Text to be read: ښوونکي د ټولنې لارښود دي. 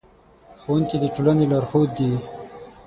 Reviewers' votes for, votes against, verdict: 3, 6, rejected